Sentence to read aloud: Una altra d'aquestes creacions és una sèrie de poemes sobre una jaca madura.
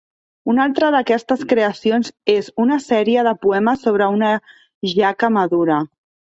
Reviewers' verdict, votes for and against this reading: accepted, 2, 1